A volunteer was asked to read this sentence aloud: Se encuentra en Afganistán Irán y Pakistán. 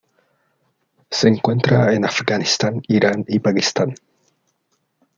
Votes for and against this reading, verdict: 2, 1, accepted